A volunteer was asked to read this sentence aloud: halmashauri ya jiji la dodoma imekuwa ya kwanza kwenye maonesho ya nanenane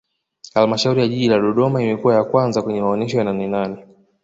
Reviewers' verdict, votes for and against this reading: accepted, 2, 0